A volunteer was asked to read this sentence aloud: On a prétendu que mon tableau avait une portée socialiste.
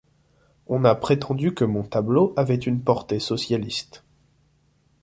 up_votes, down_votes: 2, 0